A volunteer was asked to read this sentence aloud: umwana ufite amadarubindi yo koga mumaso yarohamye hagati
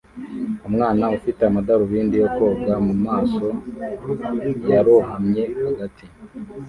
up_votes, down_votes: 1, 2